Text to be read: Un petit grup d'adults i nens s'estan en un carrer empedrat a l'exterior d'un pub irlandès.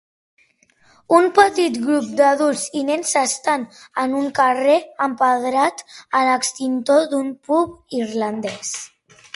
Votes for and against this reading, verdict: 1, 2, rejected